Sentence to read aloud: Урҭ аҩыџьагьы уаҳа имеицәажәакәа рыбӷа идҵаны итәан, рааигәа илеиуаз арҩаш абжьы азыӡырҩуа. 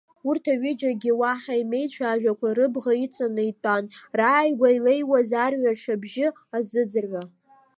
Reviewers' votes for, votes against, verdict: 1, 2, rejected